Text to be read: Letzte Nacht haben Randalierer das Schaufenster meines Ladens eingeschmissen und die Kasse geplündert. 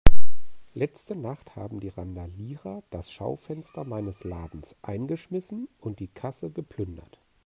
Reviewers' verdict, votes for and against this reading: rejected, 0, 2